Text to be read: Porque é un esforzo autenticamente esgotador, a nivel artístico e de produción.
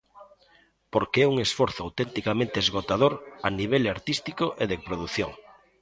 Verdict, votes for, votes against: rejected, 1, 2